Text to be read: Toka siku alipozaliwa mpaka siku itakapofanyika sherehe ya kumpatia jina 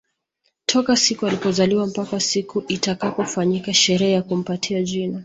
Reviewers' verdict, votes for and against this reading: rejected, 1, 2